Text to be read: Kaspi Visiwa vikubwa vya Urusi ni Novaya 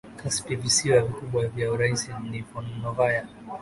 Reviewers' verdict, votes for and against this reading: rejected, 1, 2